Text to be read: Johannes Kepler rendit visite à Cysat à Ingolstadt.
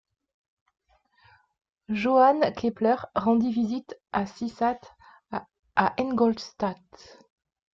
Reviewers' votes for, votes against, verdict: 0, 2, rejected